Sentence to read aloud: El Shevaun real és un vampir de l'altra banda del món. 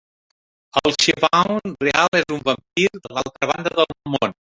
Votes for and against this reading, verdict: 0, 2, rejected